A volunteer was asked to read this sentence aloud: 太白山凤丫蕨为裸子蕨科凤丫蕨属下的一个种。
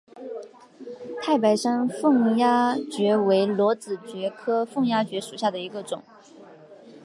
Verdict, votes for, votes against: accepted, 2, 0